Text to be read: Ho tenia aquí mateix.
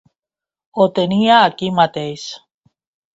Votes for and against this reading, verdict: 2, 0, accepted